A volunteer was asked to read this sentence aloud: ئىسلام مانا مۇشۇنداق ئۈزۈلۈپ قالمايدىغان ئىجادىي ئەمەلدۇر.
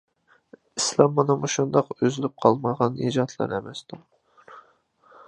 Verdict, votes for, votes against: rejected, 0, 2